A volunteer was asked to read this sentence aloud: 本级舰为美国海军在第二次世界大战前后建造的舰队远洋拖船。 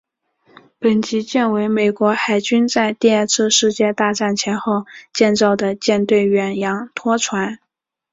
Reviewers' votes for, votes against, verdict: 0, 2, rejected